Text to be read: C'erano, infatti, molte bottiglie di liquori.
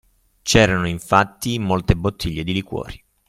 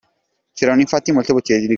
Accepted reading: first